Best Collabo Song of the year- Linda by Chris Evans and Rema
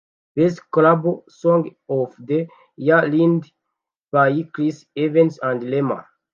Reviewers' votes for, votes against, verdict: 0, 2, rejected